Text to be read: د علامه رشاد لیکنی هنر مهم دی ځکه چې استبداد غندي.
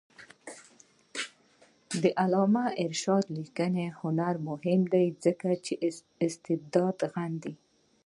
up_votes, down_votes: 0, 2